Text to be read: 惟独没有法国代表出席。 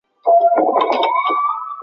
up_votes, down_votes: 0, 2